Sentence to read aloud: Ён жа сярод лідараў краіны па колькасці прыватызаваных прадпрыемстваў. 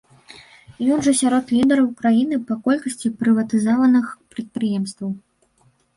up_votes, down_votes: 0, 2